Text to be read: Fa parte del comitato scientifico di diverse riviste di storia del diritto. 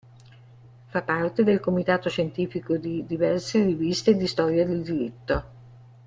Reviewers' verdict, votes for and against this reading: accepted, 2, 0